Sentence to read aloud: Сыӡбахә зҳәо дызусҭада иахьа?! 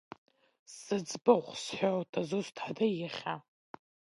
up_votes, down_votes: 1, 2